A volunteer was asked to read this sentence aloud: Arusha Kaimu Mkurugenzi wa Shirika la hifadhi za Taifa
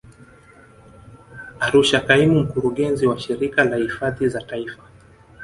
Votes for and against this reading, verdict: 2, 0, accepted